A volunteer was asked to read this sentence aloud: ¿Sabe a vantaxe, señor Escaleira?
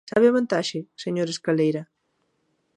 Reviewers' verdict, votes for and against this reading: rejected, 0, 2